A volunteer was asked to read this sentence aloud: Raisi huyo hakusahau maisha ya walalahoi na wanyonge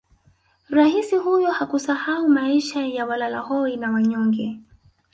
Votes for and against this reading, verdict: 3, 0, accepted